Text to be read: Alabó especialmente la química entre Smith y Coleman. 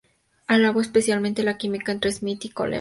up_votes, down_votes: 4, 0